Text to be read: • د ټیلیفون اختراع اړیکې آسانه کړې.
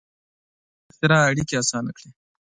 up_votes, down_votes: 2, 3